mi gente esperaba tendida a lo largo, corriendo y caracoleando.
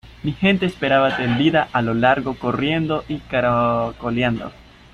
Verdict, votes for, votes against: accepted, 2, 0